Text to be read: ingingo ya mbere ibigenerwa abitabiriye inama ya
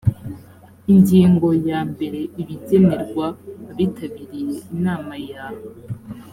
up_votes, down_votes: 1, 2